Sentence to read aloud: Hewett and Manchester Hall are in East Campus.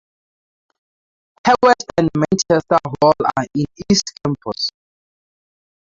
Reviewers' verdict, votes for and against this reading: rejected, 2, 2